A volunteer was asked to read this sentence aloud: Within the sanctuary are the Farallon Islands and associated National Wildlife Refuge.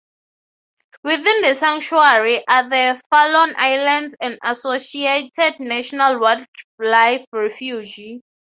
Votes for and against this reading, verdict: 3, 3, rejected